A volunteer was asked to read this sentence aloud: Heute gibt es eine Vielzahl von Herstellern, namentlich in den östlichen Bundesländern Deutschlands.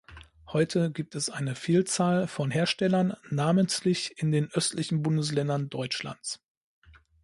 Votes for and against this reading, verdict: 2, 0, accepted